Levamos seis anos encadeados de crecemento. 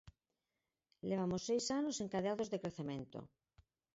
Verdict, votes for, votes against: rejected, 8, 10